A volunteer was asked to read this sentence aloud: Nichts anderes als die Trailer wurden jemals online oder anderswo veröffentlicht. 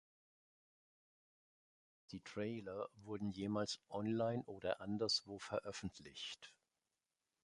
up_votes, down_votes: 1, 2